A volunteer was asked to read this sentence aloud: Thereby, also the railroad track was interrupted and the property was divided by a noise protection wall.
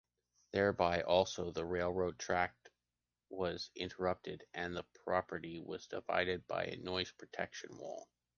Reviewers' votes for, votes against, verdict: 2, 0, accepted